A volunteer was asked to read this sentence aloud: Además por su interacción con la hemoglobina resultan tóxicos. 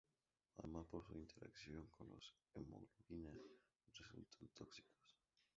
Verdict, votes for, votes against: rejected, 2, 4